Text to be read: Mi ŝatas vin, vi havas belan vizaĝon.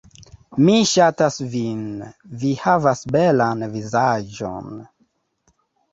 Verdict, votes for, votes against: accepted, 3, 0